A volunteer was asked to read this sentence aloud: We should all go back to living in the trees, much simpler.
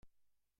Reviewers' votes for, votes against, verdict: 0, 2, rejected